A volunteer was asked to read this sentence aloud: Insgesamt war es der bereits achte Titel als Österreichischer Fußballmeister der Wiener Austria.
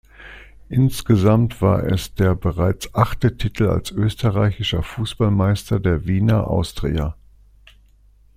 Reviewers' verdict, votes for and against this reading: accepted, 2, 0